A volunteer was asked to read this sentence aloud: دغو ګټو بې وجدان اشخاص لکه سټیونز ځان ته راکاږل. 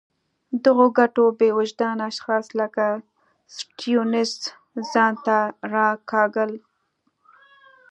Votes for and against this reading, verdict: 2, 0, accepted